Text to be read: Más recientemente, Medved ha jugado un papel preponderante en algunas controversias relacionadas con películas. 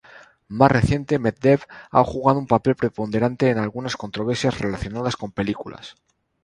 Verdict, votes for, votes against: rejected, 0, 2